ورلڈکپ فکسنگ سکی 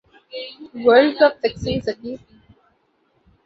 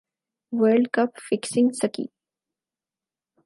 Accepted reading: second